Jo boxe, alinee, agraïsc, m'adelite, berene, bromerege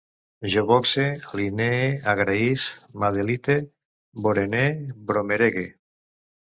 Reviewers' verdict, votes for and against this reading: rejected, 0, 2